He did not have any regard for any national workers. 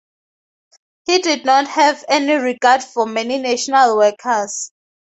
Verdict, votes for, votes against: accepted, 2, 0